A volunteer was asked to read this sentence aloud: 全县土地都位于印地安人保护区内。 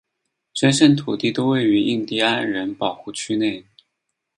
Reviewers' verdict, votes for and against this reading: accepted, 8, 2